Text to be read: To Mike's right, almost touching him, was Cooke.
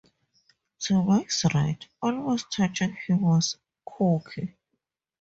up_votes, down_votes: 2, 2